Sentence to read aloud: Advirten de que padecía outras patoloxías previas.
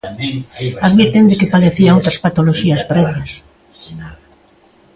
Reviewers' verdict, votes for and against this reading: rejected, 0, 2